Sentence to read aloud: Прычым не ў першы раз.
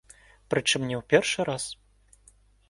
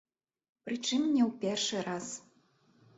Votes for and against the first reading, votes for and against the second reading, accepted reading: 2, 0, 1, 2, first